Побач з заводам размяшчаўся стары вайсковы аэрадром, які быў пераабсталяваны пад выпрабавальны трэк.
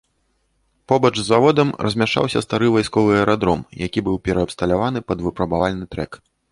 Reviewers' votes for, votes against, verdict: 2, 0, accepted